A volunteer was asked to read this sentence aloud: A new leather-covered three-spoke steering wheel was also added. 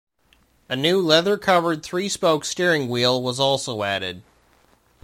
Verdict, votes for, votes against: rejected, 0, 2